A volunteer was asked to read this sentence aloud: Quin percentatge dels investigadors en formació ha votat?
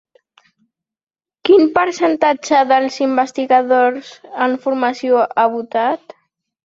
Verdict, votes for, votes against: accepted, 3, 0